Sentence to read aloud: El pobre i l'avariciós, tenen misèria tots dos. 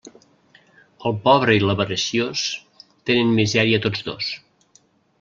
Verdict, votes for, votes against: accepted, 2, 0